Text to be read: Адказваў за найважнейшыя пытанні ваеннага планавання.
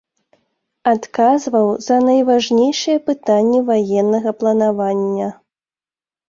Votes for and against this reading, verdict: 3, 0, accepted